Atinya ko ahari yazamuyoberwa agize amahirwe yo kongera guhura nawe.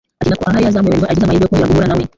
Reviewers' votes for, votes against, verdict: 1, 2, rejected